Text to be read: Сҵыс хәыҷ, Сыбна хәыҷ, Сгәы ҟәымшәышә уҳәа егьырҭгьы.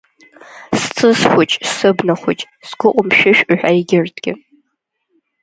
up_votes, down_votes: 1, 2